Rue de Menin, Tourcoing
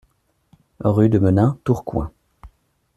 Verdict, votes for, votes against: accepted, 2, 0